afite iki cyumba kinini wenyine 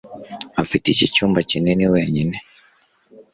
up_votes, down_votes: 3, 0